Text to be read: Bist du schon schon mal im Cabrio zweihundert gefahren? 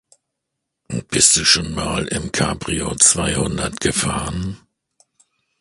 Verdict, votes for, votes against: accepted, 2, 1